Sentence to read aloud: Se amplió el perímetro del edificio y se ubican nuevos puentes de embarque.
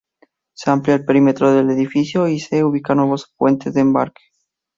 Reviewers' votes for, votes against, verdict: 0, 2, rejected